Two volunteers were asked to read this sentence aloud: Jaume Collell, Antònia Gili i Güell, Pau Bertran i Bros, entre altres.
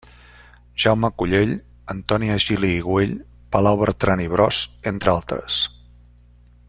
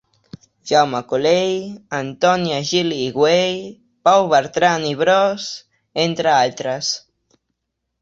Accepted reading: second